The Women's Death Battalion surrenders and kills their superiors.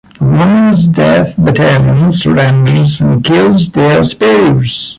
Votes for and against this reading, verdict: 0, 2, rejected